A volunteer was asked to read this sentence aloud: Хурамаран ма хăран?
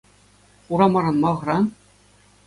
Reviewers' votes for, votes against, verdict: 2, 0, accepted